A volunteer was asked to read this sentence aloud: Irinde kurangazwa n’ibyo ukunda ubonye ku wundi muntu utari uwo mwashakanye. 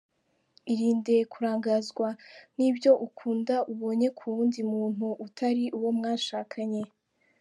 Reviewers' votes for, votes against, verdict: 2, 0, accepted